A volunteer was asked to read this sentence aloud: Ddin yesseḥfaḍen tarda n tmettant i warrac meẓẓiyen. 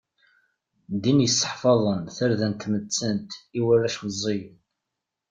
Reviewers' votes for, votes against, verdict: 2, 0, accepted